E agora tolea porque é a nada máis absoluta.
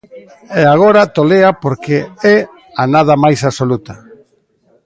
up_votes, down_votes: 1, 2